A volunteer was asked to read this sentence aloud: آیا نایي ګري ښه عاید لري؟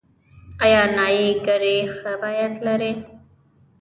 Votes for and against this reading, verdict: 2, 3, rejected